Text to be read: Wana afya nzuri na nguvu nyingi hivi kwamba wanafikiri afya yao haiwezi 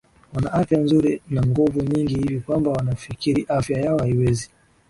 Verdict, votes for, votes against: accepted, 6, 2